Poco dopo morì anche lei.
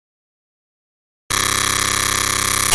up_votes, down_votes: 0, 2